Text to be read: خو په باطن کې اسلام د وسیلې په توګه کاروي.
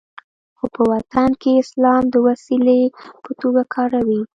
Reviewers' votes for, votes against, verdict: 2, 0, accepted